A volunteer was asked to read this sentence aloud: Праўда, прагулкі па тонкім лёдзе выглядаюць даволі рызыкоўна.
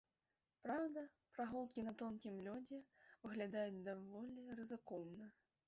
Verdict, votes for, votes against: rejected, 0, 2